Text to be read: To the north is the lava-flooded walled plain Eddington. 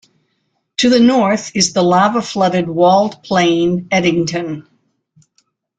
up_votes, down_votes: 3, 0